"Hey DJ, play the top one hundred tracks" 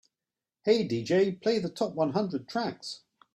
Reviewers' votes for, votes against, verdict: 2, 0, accepted